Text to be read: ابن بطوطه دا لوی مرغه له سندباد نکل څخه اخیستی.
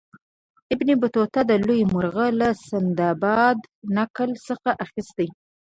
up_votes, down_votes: 1, 2